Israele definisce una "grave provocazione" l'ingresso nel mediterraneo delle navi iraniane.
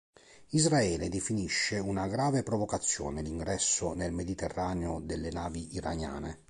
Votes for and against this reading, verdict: 2, 0, accepted